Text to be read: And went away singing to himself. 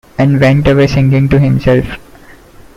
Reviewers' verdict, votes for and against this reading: accepted, 2, 0